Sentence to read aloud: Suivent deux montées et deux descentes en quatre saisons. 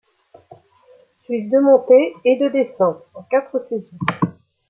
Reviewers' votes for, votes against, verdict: 1, 2, rejected